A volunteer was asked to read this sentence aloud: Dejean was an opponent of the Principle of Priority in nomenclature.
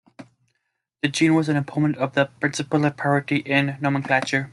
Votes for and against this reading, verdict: 1, 2, rejected